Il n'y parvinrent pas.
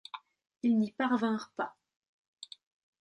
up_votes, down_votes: 2, 0